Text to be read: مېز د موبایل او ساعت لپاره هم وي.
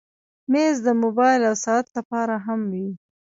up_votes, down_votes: 1, 2